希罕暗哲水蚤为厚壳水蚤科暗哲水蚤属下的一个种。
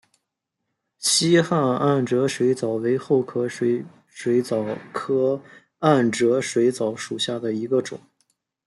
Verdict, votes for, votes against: rejected, 1, 2